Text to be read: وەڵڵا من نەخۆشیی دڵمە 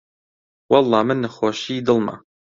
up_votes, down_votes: 2, 0